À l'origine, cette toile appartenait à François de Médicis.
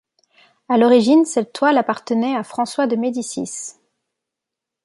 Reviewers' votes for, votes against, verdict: 2, 0, accepted